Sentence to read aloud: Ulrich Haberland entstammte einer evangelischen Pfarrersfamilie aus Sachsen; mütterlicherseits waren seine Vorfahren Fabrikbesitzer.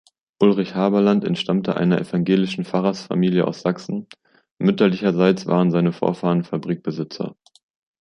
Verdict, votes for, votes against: accepted, 2, 0